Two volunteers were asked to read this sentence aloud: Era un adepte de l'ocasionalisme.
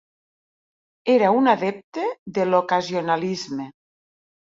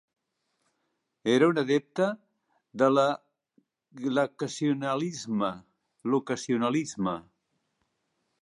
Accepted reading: first